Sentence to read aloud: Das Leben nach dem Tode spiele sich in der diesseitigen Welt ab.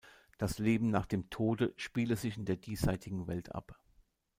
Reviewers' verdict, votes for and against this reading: rejected, 1, 2